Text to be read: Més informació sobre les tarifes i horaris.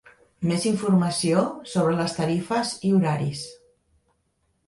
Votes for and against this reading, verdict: 2, 0, accepted